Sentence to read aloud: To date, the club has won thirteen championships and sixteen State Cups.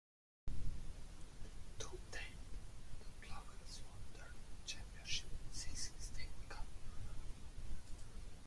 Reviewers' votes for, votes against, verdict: 0, 2, rejected